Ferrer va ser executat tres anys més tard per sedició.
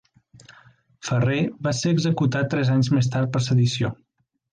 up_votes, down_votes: 3, 0